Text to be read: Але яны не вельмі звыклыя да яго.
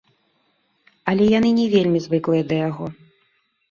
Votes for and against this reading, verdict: 0, 2, rejected